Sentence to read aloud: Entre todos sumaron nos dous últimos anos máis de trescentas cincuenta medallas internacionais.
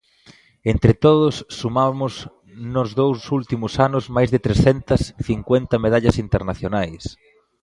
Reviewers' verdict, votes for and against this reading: rejected, 0, 2